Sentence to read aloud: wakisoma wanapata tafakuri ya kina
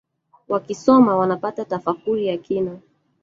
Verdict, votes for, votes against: rejected, 0, 2